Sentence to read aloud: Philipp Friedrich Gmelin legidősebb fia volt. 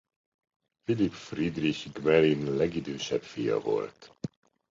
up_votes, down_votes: 2, 1